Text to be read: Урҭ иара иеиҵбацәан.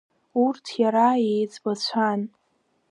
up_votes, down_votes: 2, 0